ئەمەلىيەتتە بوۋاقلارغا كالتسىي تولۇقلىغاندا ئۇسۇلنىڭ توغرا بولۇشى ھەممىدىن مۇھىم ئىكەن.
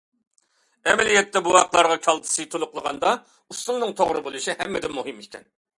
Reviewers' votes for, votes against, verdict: 2, 0, accepted